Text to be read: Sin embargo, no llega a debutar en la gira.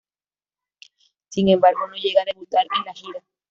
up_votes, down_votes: 1, 2